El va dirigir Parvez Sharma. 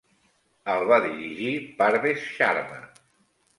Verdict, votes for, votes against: accepted, 2, 0